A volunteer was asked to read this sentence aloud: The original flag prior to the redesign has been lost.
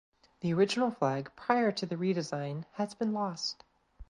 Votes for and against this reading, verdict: 2, 0, accepted